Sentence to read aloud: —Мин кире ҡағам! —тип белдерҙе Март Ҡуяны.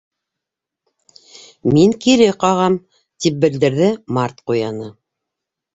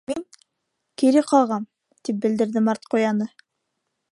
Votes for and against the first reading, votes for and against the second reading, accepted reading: 2, 0, 1, 2, first